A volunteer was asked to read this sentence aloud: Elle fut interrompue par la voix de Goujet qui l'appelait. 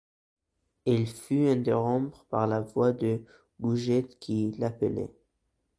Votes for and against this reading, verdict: 1, 2, rejected